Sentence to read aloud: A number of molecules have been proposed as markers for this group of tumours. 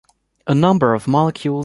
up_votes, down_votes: 0, 2